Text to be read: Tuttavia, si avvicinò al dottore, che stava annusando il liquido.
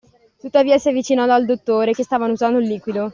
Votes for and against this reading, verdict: 0, 2, rejected